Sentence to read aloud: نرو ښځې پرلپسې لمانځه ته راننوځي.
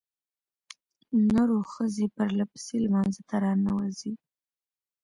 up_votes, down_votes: 2, 0